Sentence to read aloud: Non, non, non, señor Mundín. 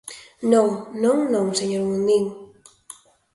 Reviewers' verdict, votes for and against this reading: accepted, 2, 0